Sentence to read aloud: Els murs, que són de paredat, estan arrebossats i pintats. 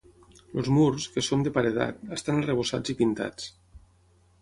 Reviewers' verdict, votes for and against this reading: rejected, 0, 6